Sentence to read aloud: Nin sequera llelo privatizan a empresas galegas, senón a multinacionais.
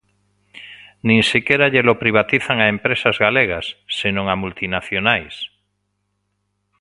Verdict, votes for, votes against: accepted, 2, 0